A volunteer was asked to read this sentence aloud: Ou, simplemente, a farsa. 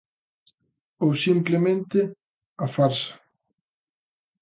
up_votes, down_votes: 3, 0